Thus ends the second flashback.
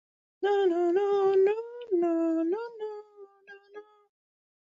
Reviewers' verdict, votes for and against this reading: rejected, 0, 2